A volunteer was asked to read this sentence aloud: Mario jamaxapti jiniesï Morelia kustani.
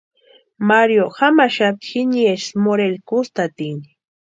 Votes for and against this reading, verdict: 0, 2, rejected